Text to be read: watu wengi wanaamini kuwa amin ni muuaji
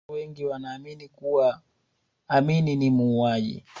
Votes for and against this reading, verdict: 1, 2, rejected